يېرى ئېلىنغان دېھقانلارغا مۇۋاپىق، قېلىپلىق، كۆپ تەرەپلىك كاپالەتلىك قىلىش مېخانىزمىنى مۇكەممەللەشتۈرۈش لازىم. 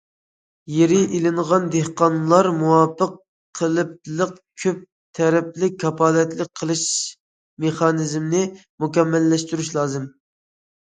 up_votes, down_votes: 0, 2